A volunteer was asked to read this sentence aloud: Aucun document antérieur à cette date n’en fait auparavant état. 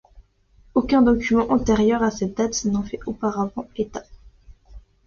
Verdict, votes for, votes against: accepted, 2, 0